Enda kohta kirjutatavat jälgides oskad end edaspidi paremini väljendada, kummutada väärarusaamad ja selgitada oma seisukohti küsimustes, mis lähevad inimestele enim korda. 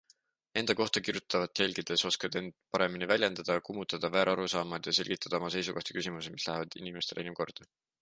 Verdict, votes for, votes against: accepted, 2, 1